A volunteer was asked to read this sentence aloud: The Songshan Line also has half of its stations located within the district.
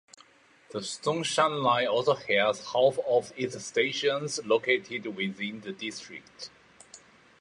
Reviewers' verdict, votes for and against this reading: accepted, 3, 1